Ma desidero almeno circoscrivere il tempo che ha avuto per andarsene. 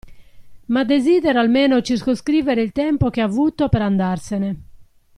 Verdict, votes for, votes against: accepted, 2, 0